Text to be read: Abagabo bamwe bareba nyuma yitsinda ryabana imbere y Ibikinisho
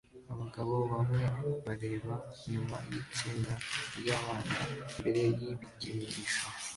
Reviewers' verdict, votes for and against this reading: accepted, 2, 0